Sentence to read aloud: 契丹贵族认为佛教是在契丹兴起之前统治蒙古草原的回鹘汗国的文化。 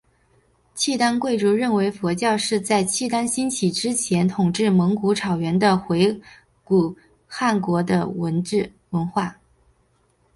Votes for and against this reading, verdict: 0, 2, rejected